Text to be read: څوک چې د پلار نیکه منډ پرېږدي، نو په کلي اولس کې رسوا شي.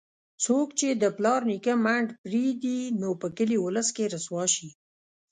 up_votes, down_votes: 1, 2